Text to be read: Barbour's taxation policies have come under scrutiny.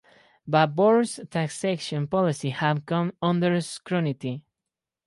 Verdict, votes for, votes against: accepted, 4, 2